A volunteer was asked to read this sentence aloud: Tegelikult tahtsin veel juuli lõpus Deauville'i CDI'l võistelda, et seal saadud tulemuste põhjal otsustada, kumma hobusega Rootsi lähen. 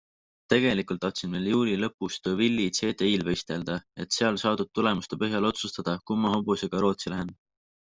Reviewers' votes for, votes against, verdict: 5, 0, accepted